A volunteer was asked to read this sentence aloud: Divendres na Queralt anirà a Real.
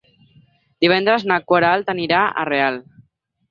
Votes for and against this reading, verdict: 2, 4, rejected